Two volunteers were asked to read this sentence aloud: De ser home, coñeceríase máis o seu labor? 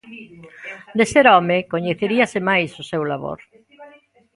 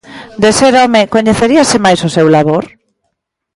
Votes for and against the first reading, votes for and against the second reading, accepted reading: 1, 2, 2, 0, second